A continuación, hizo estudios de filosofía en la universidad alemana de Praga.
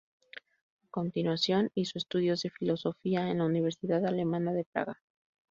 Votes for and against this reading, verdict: 0, 2, rejected